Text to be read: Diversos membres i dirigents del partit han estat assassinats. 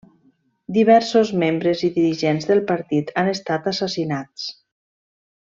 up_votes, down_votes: 3, 0